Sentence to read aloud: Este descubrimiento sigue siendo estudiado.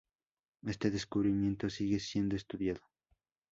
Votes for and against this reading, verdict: 2, 0, accepted